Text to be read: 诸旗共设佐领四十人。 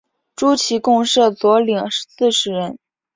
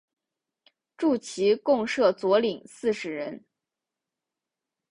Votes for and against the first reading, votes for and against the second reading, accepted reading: 3, 0, 1, 2, first